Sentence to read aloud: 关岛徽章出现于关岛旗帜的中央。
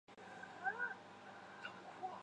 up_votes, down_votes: 2, 5